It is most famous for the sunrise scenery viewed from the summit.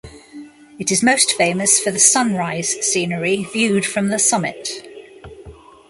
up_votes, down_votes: 2, 1